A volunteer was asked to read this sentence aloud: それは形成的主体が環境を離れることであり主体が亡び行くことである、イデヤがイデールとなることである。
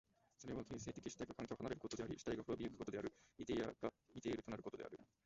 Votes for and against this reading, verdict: 0, 2, rejected